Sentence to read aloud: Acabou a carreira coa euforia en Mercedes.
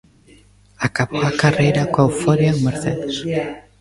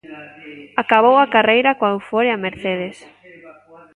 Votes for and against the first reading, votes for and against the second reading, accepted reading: 0, 2, 2, 0, second